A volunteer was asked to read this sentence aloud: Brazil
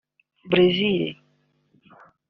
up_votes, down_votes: 3, 0